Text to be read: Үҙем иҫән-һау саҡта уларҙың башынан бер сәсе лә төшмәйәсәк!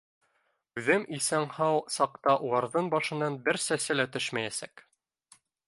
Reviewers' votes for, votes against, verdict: 0, 2, rejected